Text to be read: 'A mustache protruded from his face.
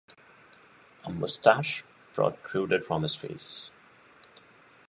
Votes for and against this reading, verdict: 2, 0, accepted